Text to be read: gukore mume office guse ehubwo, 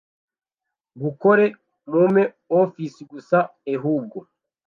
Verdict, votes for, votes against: rejected, 1, 2